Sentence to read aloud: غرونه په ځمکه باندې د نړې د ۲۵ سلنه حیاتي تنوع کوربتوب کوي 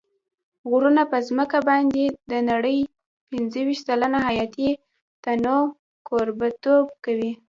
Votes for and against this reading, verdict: 0, 2, rejected